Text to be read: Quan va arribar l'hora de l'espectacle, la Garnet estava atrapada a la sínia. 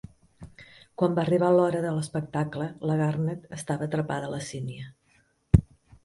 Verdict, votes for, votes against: accepted, 2, 0